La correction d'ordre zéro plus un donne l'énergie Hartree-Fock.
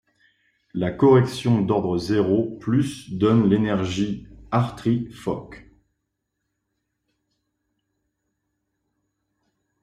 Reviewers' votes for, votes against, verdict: 0, 2, rejected